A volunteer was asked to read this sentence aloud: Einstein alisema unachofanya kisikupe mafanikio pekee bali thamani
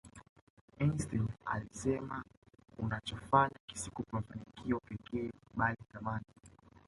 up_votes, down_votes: 0, 2